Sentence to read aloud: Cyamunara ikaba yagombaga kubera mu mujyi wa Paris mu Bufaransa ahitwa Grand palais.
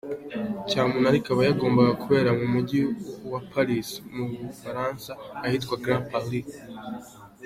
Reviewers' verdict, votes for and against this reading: accepted, 2, 0